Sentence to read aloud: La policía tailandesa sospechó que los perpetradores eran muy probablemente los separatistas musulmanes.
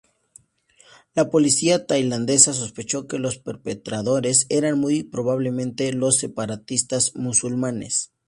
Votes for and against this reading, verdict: 4, 2, accepted